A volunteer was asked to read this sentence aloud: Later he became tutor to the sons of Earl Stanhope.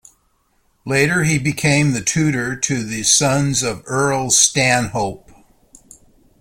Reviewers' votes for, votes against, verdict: 1, 2, rejected